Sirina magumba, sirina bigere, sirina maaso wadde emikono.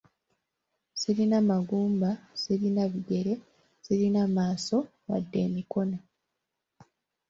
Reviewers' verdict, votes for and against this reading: accepted, 3, 0